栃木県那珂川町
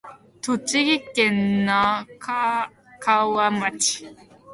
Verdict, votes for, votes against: rejected, 1, 3